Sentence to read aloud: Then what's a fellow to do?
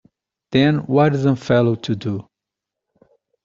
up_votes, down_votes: 2, 0